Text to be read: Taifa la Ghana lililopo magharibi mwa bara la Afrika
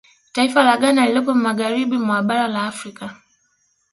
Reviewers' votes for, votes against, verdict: 2, 0, accepted